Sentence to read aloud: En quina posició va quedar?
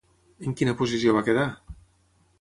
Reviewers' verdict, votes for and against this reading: accepted, 6, 0